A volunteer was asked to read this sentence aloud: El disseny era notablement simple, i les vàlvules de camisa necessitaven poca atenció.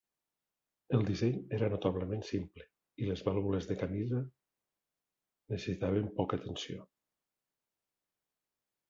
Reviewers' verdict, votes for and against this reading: rejected, 0, 2